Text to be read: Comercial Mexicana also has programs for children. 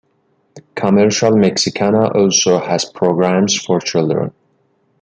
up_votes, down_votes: 2, 0